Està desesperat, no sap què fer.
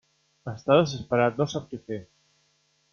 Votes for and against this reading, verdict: 1, 2, rejected